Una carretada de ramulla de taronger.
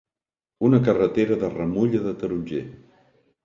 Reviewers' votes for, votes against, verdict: 0, 2, rejected